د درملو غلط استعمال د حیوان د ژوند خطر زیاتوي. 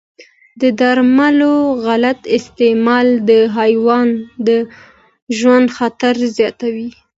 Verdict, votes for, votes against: accepted, 2, 0